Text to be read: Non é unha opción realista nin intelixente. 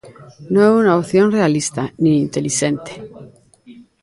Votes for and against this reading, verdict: 1, 2, rejected